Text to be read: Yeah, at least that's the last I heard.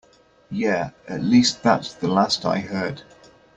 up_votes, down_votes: 2, 0